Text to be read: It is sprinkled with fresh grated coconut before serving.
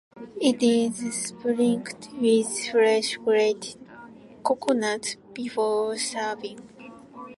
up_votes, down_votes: 0, 2